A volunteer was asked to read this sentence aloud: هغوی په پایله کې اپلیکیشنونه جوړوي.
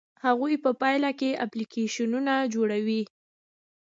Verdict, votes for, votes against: accepted, 2, 0